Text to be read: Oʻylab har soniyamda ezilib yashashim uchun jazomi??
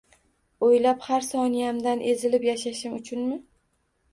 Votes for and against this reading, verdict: 1, 2, rejected